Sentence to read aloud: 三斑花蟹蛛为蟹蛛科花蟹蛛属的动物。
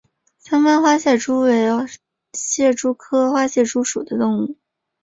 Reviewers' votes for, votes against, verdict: 4, 1, accepted